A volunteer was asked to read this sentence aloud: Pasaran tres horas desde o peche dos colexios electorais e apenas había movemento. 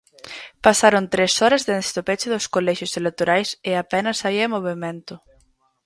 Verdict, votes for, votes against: rejected, 2, 4